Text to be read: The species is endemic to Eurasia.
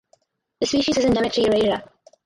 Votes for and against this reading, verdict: 2, 4, rejected